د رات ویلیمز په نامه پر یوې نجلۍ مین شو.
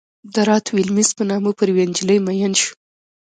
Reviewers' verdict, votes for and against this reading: accepted, 2, 1